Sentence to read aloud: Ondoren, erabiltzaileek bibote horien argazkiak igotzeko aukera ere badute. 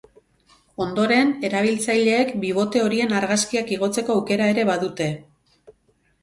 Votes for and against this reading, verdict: 2, 0, accepted